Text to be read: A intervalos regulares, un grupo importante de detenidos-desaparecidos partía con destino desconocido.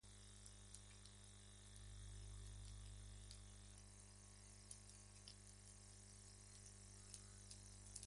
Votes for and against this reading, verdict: 0, 2, rejected